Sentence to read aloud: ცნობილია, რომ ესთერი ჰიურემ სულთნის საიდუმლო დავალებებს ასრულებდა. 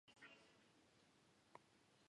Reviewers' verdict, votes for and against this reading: rejected, 0, 2